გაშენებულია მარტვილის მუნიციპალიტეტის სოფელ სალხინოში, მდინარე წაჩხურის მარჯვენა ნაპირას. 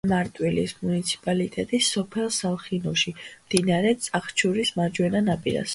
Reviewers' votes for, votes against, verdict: 1, 2, rejected